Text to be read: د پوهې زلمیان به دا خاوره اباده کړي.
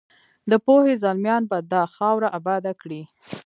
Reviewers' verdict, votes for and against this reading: rejected, 1, 2